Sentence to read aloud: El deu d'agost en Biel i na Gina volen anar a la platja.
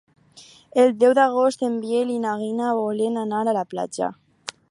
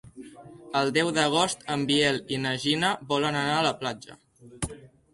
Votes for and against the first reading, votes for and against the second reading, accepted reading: 0, 4, 2, 0, second